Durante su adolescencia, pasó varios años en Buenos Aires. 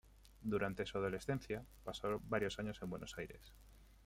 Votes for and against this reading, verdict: 2, 0, accepted